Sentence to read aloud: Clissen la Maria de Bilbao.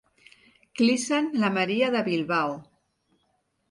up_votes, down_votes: 2, 0